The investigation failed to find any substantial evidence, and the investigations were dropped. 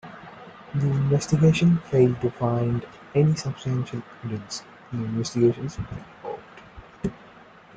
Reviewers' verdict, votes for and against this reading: rejected, 0, 2